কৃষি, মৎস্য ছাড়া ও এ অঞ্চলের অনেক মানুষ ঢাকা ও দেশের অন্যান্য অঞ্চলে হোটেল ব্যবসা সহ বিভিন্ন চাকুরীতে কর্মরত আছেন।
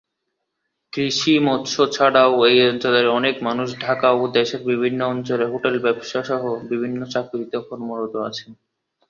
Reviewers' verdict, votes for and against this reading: rejected, 2, 6